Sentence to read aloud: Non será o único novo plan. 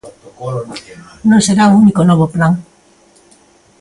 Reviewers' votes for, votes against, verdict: 0, 2, rejected